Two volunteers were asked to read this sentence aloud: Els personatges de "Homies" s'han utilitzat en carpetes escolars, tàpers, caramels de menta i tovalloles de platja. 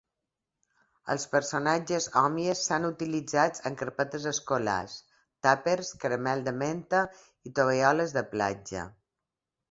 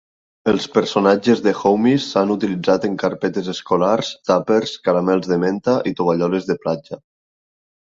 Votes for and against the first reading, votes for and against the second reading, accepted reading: 1, 2, 3, 0, second